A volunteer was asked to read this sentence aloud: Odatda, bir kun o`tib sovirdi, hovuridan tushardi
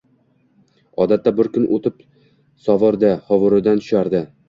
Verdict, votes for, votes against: rejected, 1, 2